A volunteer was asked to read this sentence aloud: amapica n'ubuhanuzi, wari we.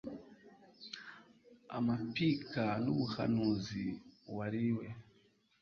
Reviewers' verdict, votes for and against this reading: rejected, 1, 2